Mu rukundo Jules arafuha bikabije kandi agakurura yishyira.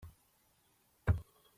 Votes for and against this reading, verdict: 0, 2, rejected